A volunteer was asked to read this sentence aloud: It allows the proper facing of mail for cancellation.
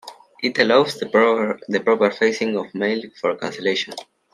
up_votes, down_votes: 0, 2